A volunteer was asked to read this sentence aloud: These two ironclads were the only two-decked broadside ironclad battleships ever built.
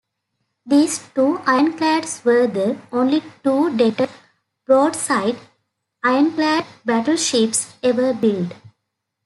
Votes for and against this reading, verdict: 0, 2, rejected